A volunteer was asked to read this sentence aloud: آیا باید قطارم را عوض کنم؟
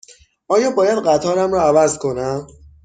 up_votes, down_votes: 6, 0